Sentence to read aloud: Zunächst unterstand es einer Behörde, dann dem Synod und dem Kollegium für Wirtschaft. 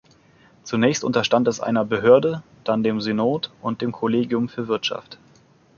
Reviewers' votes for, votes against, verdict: 2, 1, accepted